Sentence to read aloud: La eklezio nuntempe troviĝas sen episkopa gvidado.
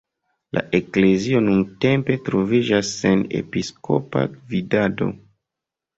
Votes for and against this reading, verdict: 1, 2, rejected